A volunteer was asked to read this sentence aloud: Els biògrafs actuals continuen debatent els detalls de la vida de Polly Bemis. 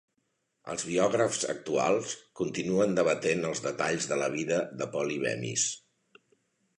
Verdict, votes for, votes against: accepted, 3, 0